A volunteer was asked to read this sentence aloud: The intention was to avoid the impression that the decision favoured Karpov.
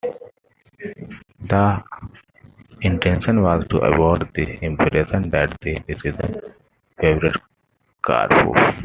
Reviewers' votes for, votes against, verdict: 2, 0, accepted